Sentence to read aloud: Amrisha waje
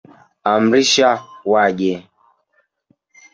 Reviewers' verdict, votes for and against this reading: rejected, 0, 2